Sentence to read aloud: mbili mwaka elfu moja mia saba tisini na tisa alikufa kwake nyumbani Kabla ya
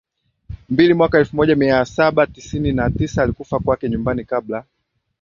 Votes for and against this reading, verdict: 0, 2, rejected